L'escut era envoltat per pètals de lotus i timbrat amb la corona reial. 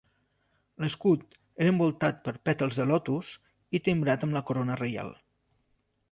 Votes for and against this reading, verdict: 2, 0, accepted